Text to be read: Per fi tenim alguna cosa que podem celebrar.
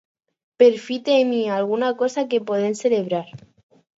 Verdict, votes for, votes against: rejected, 0, 4